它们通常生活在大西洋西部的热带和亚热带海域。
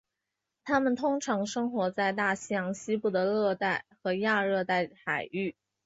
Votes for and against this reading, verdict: 3, 0, accepted